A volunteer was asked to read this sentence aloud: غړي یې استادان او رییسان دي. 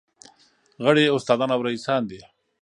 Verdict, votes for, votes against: accepted, 2, 0